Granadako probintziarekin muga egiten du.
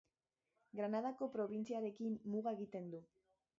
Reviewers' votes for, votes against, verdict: 1, 2, rejected